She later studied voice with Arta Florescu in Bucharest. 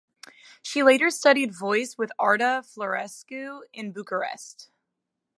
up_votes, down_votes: 2, 0